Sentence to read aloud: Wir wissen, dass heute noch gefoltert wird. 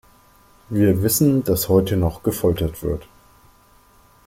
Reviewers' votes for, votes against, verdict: 2, 1, accepted